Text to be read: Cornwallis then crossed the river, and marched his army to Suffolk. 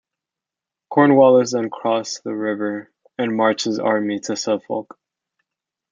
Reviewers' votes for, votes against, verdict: 1, 2, rejected